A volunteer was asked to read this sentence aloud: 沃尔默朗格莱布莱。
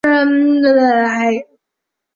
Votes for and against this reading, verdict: 0, 2, rejected